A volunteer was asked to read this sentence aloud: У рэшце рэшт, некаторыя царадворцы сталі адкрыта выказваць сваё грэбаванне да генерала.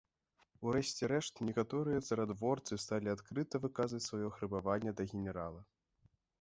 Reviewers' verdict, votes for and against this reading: rejected, 1, 2